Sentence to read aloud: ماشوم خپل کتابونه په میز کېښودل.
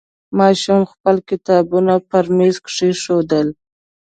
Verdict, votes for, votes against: accepted, 2, 0